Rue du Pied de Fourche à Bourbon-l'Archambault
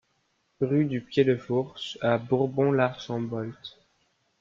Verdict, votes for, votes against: rejected, 0, 2